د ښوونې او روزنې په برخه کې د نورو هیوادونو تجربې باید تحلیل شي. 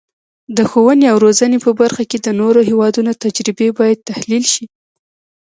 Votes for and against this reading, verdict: 2, 1, accepted